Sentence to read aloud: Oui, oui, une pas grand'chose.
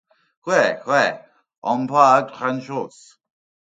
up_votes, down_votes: 0, 2